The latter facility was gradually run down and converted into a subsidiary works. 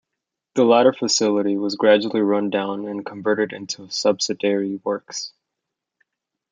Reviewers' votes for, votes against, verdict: 0, 2, rejected